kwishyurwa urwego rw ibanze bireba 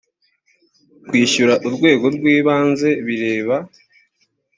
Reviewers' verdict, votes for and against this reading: rejected, 1, 2